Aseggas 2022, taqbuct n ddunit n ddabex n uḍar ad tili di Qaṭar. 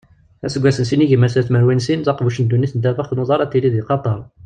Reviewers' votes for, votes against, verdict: 0, 2, rejected